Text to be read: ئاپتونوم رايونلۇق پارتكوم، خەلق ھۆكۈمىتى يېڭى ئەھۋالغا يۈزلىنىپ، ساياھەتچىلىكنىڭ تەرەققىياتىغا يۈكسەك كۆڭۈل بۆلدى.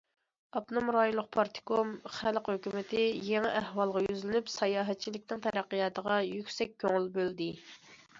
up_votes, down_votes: 2, 0